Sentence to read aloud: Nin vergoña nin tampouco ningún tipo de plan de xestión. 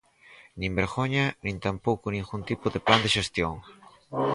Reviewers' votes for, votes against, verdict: 0, 4, rejected